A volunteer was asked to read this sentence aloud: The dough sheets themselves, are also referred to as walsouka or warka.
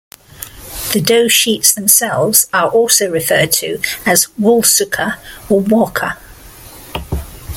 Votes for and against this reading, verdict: 2, 0, accepted